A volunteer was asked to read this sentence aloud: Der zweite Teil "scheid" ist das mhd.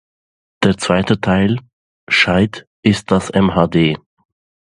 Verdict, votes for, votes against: accepted, 2, 0